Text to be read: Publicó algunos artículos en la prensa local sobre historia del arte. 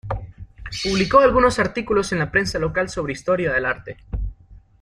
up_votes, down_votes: 2, 0